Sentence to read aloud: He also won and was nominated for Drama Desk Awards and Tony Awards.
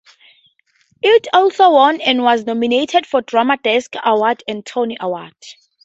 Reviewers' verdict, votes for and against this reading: accepted, 2, 0